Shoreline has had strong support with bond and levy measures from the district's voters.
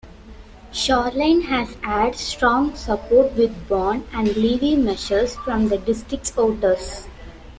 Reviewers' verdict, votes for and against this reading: rejected, 1, 2